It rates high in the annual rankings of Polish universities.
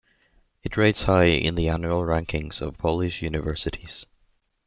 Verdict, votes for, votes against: accepted, 2, 0